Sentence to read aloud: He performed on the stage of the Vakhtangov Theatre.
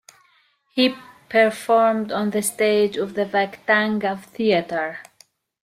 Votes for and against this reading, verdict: 2, 0, accepted